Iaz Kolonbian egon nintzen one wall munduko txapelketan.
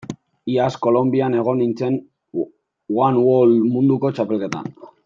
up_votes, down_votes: 1, 2